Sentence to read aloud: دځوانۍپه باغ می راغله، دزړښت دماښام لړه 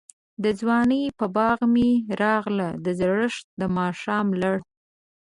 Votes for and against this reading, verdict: 1, 2, rejected